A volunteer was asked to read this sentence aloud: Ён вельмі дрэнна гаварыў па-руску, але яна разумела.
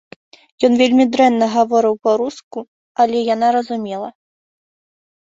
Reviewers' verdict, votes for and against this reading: rejected, 0, 2